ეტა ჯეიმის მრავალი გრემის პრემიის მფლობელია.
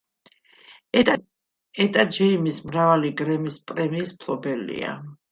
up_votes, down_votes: 2, 1